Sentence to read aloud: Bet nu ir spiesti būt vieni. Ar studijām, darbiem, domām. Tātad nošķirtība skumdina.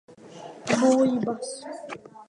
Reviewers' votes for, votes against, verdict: 0, 2, rejected